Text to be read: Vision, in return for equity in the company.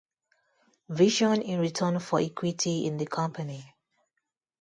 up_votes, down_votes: 2, 0